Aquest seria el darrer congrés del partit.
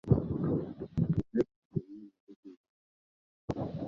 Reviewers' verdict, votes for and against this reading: rejected, 0, 2